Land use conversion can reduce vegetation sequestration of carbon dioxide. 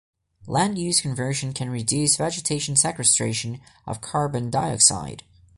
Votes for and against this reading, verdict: 2, 0, accepted